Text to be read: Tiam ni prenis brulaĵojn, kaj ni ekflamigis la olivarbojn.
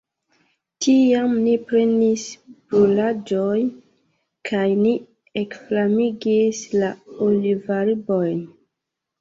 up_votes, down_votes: 1, 2